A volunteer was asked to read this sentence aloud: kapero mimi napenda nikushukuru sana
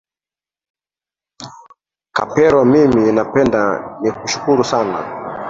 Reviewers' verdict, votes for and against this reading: rejected, 0, 2